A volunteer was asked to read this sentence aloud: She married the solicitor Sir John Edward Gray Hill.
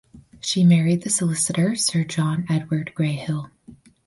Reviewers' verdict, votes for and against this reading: accepted, 4, 0